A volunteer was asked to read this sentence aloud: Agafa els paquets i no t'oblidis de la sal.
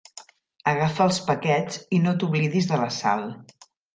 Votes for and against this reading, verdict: 3, 0, accepted